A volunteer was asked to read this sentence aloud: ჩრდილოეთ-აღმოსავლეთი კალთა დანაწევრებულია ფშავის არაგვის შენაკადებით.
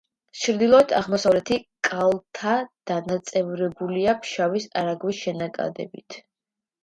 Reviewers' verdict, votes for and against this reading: accepted, 2, 0